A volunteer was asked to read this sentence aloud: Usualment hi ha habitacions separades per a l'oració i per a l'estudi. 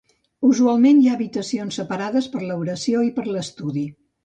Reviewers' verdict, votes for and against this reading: rejected, 1, 2